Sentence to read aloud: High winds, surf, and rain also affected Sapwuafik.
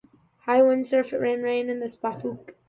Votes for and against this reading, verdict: 0, 2, rejected